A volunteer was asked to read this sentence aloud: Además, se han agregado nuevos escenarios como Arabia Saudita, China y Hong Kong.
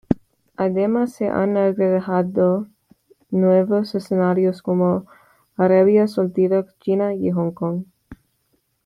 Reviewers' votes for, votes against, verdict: 1, 3, rejected